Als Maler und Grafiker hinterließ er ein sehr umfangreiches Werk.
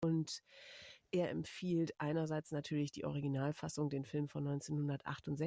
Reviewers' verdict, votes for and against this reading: rejected, 0, 2